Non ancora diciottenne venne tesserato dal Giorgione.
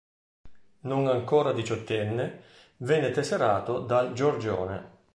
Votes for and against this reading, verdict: 2, 0, accepted